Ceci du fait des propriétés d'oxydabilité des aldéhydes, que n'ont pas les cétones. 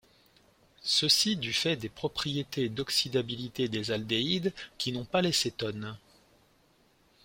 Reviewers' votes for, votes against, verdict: 0, 2, rejected